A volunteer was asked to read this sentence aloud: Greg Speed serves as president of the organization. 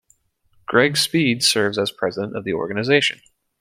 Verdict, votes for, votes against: accepted, 2, 0